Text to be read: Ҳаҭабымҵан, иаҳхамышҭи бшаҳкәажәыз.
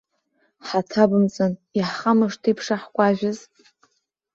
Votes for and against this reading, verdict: 2, 0, accepted